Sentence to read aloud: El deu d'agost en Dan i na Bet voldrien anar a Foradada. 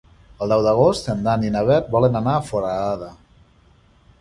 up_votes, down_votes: 1, 2